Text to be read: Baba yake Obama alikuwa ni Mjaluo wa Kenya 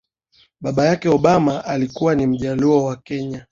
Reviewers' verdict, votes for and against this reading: accepted, 2, 0